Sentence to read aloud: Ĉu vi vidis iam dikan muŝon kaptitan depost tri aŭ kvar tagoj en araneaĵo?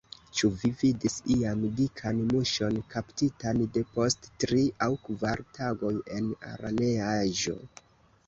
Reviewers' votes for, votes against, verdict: 2, 1, accepted